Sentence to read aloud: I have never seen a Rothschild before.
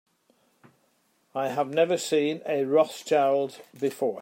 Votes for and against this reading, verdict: 3, 0, accepted